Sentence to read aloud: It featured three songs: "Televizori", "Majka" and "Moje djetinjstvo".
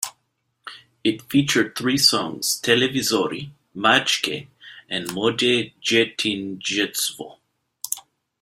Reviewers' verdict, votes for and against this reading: rejected, 1, 2